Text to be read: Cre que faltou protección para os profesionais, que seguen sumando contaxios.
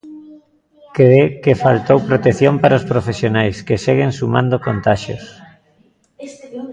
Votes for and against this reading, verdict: 0, 2, rejected